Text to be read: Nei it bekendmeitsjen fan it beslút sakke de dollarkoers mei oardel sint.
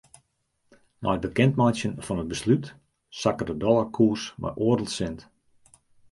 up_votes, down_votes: 2, 0